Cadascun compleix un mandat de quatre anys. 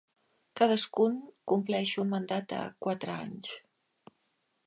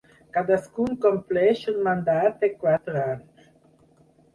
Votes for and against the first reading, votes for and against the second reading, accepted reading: 2, 0, 2, 4, first